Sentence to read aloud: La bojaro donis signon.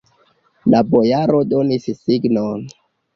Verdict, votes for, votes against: accepted, 2, 1